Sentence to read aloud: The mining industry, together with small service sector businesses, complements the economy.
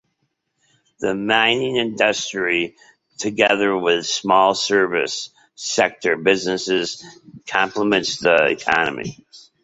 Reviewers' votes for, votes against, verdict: 2, 0, accepted